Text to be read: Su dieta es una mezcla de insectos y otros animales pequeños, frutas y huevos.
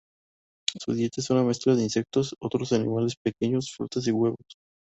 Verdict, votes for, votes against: rejected, 0, 2